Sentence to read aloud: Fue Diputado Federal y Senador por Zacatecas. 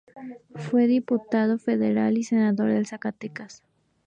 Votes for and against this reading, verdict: 2, 2, rejected